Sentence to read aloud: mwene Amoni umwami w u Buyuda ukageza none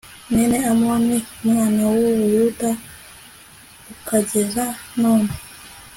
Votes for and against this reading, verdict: 2, 0, accepted